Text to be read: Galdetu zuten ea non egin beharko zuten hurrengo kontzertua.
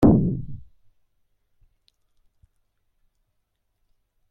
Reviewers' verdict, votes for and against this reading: rejected, 0, 2